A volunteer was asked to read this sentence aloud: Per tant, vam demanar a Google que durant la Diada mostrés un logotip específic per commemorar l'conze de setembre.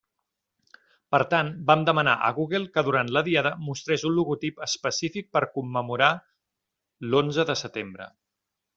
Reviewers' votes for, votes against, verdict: 2, 0, accepted